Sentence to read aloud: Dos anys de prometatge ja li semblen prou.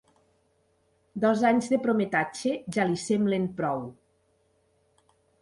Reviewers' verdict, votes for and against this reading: accepted, 3, 0